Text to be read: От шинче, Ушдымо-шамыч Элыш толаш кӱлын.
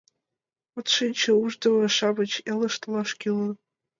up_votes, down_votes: 2, 1